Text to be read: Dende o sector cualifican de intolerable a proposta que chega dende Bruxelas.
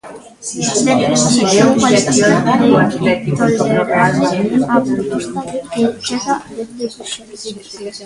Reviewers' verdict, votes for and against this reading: rejected, 0, 2